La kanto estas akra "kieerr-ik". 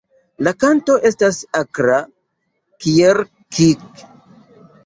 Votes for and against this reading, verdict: 0, 2, rejected